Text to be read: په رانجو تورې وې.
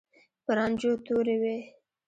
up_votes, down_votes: 0, 2